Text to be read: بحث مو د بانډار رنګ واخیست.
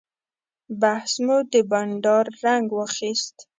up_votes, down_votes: 2, 0